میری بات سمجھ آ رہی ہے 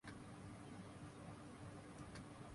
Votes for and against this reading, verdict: 7, 12, rejected